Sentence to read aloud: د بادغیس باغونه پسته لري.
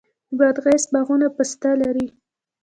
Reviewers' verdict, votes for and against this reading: rejected, 0, 2